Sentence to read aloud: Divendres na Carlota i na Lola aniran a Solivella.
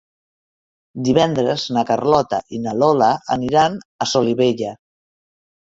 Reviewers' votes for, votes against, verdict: 3, 0, accepted